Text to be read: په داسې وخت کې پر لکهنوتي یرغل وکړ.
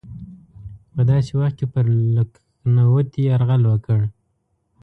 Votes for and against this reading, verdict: 1, 2, rejected